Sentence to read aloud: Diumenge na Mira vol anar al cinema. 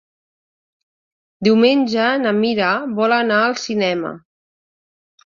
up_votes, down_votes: 3, 0